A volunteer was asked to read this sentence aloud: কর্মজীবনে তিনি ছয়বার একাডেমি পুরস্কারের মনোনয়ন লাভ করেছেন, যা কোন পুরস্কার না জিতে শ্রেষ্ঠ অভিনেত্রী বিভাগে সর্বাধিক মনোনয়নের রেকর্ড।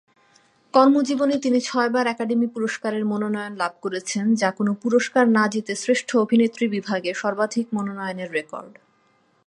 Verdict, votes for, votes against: accepted, 2, 0